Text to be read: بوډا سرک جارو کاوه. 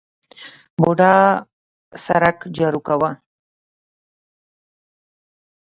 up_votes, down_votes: 1, 2